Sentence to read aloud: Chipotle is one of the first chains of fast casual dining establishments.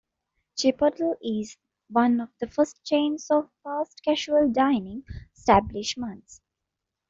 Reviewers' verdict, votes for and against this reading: rejected, 0, 2